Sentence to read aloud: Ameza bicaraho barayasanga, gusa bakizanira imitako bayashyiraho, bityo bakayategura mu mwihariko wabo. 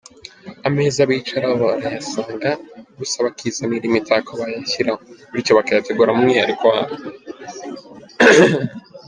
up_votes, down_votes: 2, 0